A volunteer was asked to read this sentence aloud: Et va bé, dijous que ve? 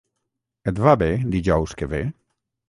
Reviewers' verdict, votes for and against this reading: rejected, 3, 3